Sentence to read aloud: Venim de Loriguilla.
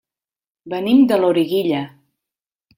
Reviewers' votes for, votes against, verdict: 3, 0, accepted